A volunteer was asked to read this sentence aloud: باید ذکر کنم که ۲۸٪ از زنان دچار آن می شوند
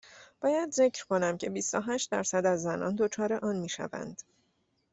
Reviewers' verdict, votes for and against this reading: rejected, 0, 2